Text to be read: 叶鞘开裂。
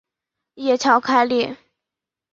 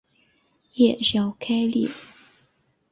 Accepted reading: first